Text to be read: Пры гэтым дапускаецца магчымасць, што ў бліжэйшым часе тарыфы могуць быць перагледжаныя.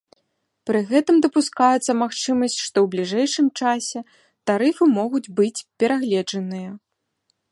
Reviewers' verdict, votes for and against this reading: accepted, 2, 0